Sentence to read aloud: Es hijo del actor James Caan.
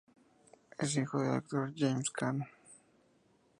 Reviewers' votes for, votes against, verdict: 2, 0, accepted